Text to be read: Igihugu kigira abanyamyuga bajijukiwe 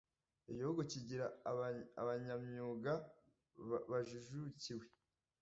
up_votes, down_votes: 0, 2